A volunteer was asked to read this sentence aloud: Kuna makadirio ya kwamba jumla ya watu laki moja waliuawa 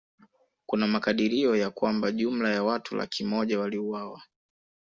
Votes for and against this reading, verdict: 2, 0, accepted